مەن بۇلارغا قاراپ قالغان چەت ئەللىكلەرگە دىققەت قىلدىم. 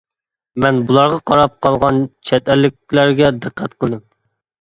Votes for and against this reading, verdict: 2, 0, accepted